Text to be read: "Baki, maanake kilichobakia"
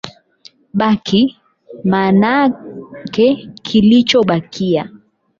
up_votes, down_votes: 8, 4